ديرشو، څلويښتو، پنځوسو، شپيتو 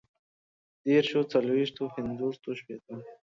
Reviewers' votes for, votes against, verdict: 0, 2, rejected